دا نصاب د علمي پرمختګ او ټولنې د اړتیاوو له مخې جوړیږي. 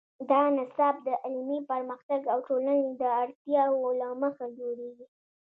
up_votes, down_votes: 1, 2